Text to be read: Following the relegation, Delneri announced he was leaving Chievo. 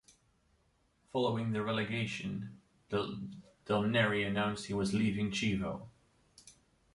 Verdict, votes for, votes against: rejected, 0, 2